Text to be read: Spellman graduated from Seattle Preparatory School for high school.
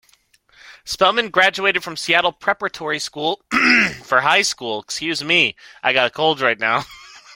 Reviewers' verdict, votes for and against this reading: rejected, 0, 2